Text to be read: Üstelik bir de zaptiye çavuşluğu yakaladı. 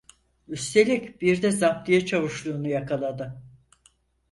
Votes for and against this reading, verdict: 2, 4, rejected